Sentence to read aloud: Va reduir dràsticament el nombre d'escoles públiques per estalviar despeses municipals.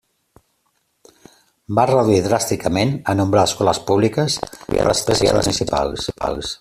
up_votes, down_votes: 0, 2